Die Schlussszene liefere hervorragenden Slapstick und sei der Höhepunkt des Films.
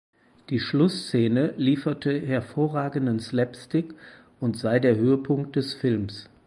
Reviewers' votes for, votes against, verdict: 0, 4, rejected